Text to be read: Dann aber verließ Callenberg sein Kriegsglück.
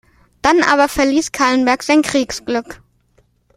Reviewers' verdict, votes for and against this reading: accepted, 2, 0